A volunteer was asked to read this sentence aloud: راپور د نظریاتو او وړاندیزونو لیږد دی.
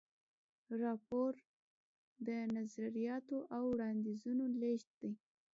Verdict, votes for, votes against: accepted, 2, 0